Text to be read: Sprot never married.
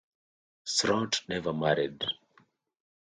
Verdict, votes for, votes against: rejected, 0, 2